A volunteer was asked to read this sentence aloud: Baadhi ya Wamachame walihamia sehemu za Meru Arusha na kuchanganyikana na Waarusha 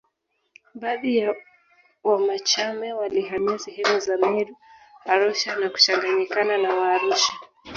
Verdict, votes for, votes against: rejected, 0, 2